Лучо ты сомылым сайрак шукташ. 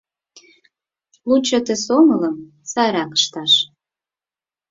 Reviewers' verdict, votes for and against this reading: rejected, 2, 4